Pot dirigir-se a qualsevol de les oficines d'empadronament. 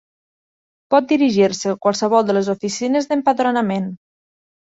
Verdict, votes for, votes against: accepted, 3, 1